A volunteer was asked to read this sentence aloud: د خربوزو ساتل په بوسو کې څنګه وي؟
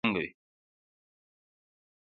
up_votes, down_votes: 0, 2